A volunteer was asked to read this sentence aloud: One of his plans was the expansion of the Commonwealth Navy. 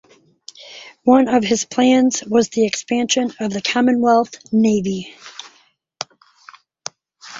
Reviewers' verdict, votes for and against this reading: accepted, 4, 0